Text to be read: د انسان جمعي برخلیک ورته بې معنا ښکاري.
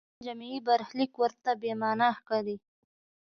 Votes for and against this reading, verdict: 2, 0, accepted